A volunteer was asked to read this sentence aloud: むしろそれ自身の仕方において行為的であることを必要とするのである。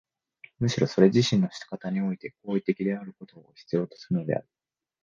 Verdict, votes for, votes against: accepted, 6, 1